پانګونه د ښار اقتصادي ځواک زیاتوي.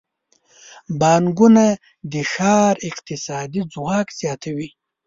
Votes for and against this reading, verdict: 0, 2, rejected